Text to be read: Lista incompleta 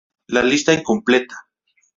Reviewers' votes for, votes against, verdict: 0, 2, rejected